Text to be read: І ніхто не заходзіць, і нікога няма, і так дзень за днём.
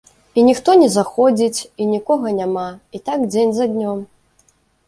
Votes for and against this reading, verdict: 2, 0, accepted